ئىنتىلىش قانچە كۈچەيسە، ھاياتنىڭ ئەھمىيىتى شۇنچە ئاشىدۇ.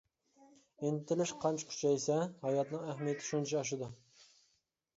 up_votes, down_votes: 2, 0